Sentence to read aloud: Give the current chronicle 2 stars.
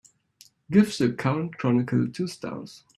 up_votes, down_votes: 0, 2